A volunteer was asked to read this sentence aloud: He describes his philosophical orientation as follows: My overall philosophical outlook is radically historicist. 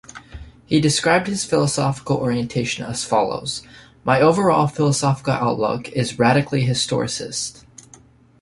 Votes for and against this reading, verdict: 2, 1, accepted